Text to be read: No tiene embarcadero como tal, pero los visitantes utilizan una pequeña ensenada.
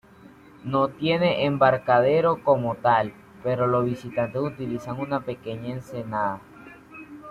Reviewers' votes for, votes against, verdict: 2, 0, accepted